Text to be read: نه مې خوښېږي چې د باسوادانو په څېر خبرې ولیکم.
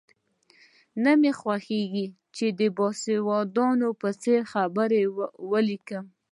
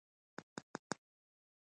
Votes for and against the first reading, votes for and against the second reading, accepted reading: 2, 0, 1, 2, first